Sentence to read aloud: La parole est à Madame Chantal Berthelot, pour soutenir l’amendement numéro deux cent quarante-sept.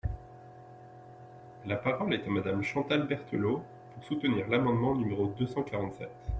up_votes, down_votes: 2, 0